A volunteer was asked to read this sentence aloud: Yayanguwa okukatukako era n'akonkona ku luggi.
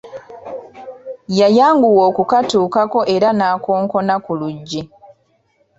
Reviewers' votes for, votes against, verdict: 2, 0, accepted